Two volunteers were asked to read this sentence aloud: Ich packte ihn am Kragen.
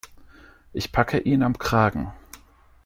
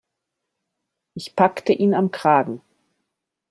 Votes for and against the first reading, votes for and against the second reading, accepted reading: 1, 2, 2, 0, second